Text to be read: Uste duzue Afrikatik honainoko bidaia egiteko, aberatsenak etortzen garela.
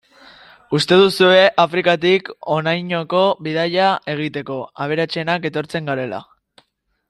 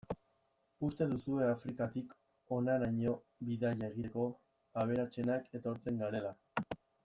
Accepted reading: first